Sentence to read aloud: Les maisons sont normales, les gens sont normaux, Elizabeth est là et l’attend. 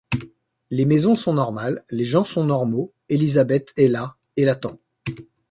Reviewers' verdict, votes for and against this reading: accepted, 2, 0